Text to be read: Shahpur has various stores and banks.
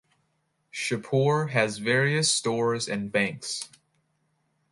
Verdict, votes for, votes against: accepted, 2, 0